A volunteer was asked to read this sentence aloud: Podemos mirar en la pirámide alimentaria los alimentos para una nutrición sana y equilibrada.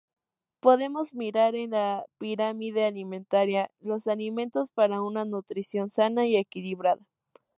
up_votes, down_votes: 2, 0